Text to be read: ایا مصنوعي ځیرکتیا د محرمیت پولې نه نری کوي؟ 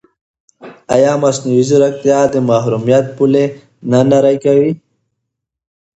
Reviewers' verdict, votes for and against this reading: accepted, 2, 0